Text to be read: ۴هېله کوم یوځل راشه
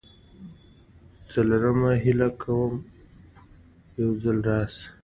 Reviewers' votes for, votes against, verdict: 0, 2, rejected